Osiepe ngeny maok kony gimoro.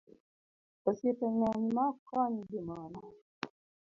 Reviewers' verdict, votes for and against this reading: rejected, 0, 2